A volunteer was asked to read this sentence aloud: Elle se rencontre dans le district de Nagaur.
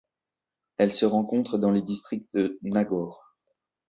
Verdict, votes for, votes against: accepted, 2, 0